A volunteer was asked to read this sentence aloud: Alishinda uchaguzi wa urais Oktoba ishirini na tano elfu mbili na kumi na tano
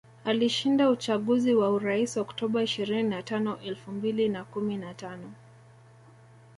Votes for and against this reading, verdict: 2, 0, accepted